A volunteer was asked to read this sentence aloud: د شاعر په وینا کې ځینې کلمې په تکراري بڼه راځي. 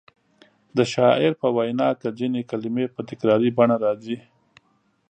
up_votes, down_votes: 3, 0